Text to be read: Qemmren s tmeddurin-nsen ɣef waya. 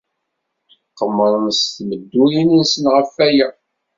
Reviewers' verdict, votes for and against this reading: accepted, 2, 0